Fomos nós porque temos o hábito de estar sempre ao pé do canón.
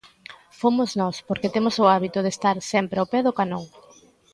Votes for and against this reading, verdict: 2, 0, accepted